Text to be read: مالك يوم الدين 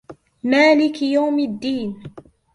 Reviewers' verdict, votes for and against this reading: accepted, 2, 0